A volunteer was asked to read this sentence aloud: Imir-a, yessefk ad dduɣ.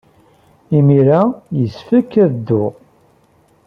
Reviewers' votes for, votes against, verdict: 2, 1, accepted